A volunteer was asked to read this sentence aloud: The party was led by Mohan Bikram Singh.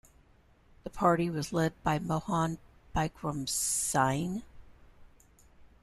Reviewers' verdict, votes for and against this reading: rejected, 0, 2